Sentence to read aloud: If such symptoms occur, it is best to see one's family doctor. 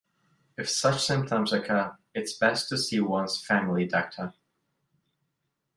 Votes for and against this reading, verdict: 0, 2, rejected